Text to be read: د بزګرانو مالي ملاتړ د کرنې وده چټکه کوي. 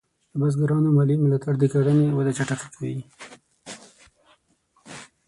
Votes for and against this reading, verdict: 0, 6, rejected